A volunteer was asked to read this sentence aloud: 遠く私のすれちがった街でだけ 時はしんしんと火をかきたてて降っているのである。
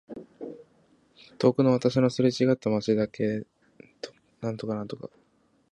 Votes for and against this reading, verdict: 2, 3, rejected